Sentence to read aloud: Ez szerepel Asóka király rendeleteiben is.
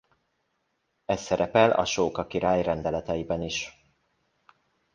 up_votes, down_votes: 2, 0